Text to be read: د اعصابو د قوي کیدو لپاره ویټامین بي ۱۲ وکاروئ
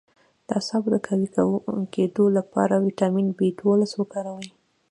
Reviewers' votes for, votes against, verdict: 0, 2, rejected